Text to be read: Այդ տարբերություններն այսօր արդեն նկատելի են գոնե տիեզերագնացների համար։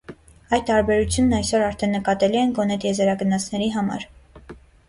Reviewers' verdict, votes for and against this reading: rejected, 1, 2